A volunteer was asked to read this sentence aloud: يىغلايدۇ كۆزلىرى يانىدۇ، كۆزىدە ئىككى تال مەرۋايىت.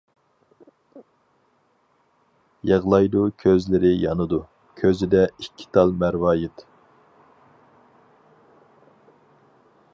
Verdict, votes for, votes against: accepted, 4, 0